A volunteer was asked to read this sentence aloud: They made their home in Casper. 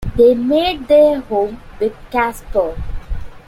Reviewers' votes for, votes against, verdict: 2, 1, accepted